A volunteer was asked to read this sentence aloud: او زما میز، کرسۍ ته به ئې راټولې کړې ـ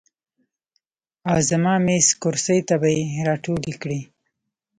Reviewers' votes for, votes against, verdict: 1, 2, rejected